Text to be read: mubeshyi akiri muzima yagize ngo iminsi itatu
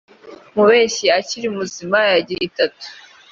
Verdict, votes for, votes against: rejected, 1, 2